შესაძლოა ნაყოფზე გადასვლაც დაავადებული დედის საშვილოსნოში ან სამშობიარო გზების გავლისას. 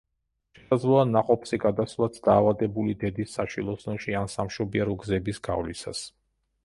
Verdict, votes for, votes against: rejected, 1, 2